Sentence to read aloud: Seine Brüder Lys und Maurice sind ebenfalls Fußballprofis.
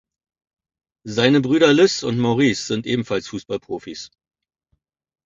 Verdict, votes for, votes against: accepted, 2, 0